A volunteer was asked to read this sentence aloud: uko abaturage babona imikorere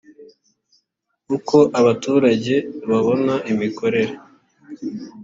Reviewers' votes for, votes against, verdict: 2, 0, accepted